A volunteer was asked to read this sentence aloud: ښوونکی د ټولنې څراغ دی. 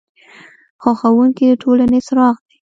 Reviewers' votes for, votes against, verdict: 1, 2, rejected